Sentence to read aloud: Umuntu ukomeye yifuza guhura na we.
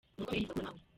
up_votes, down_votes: 0, 2